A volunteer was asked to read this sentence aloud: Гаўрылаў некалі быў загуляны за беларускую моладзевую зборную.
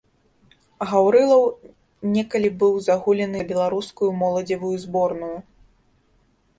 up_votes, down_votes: 1, 2